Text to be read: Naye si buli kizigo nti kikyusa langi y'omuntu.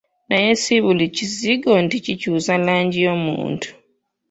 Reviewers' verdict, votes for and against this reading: accepted, 2, 1